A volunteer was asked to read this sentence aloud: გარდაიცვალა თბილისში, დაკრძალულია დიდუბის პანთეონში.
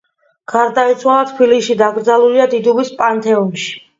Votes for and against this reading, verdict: 2, 1, accepted